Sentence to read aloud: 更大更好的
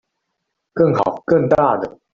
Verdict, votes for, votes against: rejected, 0, 2